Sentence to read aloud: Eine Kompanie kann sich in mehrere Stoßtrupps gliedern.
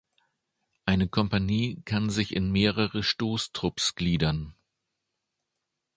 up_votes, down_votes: 2, 0